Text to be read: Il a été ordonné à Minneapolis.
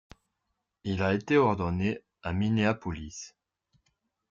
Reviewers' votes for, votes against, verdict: 2, 0, accepted